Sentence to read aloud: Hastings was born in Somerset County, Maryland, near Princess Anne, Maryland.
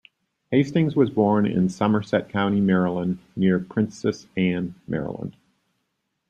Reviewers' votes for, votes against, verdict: 2, 0, accepted